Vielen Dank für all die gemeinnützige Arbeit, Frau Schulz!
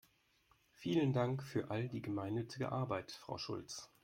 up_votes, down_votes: 2, 1